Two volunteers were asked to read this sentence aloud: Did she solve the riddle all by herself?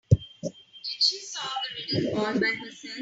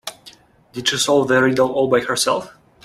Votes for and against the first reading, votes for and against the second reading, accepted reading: 0, 2, 2, 1, second